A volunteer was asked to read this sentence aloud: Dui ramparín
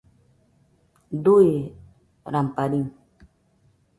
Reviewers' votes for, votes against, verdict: 2, 0, accepted